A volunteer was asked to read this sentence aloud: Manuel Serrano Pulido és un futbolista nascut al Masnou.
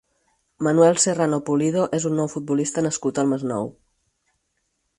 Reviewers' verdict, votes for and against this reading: rejected, 0, 4